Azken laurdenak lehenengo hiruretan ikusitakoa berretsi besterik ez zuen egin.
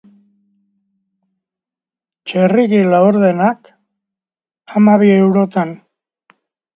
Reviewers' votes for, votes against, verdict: 0, 4, rejected